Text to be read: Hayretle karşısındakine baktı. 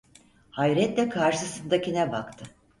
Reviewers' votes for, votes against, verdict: 4, 0, accepted